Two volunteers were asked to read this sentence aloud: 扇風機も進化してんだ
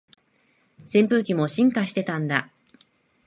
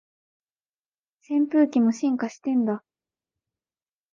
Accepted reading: second